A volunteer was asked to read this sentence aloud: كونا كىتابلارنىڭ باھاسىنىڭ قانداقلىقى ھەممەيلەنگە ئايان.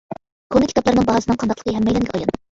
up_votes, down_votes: 0, 2